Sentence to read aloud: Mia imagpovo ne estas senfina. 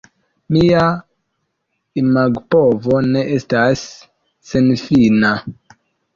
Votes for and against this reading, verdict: 2, 0, accepted